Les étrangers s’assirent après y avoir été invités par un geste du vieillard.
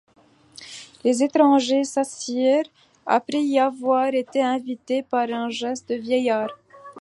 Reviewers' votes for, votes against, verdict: 1, 2, rejected